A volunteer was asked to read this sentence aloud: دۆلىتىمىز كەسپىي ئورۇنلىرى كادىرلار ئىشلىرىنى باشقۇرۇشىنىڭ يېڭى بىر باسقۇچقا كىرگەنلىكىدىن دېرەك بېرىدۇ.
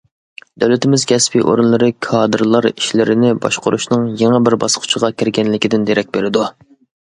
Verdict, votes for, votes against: accepted, 2, 0